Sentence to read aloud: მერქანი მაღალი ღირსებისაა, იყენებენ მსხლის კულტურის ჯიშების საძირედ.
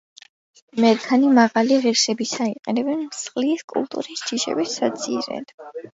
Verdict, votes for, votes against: accepted, 2, 0